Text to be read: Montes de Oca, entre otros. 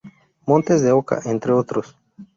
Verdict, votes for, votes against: accepted, 2, 0